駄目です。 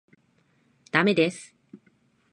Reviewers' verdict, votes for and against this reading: accepted, 2, 1